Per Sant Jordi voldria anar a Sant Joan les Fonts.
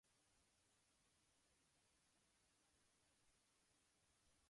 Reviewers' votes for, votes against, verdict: 0, 2, rejected